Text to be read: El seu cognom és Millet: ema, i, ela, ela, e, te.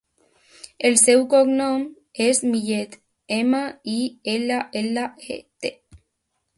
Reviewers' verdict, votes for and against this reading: accepted, 2, 0